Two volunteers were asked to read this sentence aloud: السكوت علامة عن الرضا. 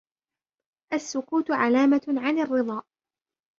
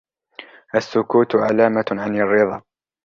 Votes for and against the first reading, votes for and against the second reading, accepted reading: 1, 2, 2, 0, second